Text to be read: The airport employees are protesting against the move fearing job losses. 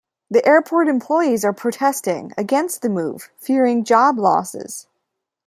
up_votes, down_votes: 2, 0